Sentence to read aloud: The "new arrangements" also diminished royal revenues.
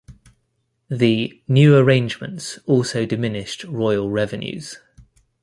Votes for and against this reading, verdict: 2, 0, accepted